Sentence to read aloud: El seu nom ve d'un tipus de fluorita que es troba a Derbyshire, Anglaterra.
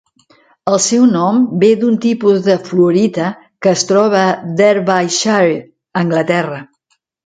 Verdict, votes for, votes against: rejected, 0, 2